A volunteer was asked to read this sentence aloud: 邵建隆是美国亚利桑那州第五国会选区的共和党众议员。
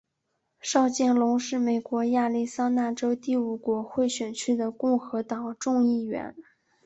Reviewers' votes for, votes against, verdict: 5, 0, accepted